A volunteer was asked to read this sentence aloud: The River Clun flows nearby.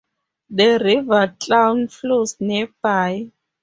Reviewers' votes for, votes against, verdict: 2, 2, rejected